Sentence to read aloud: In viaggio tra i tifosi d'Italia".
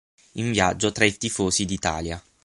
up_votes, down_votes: 6, 0